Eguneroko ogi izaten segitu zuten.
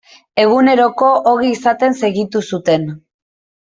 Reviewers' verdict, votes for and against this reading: accepted, 2, 0